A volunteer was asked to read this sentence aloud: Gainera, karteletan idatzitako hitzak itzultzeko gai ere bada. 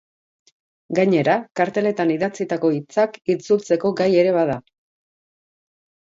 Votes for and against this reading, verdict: 4, 0, accepted